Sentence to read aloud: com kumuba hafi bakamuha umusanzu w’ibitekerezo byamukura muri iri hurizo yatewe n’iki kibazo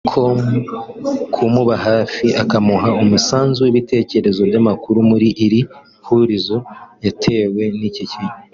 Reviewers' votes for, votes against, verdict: 0, 3, rejected